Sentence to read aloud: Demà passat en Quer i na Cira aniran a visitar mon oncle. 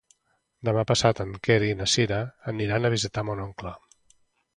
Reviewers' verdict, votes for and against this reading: accepted, 2, 0